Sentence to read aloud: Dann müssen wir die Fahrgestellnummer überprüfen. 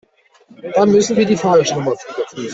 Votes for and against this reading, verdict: 1, 2, rejected